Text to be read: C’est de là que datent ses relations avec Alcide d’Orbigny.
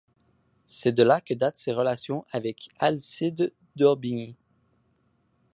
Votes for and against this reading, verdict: 2, 0, accepted